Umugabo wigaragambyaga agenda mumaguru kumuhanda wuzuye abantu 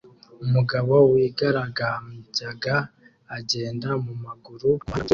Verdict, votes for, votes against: rejected, 0, 2